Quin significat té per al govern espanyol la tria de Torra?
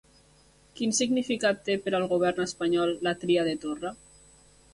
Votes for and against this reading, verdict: 3, 0, accepted